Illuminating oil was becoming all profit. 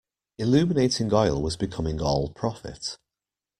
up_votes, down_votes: 2, 0